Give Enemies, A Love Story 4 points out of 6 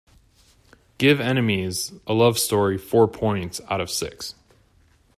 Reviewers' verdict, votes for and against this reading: rejected, 0, 2